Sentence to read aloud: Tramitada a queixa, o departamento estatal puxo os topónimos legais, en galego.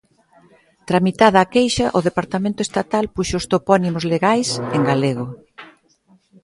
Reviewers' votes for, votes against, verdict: 2, 0, accepted